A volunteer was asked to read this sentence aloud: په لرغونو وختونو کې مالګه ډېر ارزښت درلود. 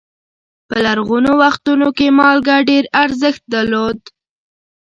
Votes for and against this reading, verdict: 1, 2, rejected